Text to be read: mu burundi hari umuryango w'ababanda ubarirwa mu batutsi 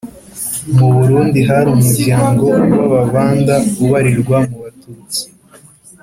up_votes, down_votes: 4, 0